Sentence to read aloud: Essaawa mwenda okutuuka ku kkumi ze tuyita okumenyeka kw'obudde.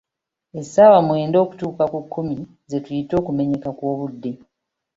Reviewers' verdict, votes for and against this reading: accepted, 2, 0